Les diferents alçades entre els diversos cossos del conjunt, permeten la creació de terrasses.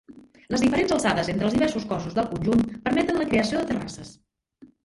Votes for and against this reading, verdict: 0, 2, rejected